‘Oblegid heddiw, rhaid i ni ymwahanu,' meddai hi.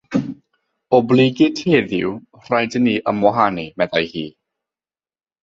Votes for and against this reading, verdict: 0, 3, rejected